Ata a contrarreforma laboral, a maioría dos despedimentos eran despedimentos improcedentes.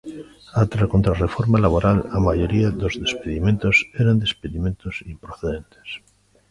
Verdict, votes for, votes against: accepted, 2, 1